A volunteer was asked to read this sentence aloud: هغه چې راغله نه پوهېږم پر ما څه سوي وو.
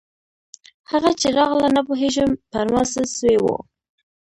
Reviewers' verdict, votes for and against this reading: rejected, 0, 2